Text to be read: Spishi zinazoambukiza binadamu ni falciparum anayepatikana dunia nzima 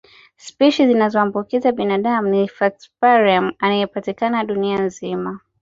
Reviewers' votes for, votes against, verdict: 2, 0, accepted